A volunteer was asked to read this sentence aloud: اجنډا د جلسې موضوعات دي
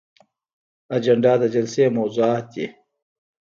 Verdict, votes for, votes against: rejected, 1, 2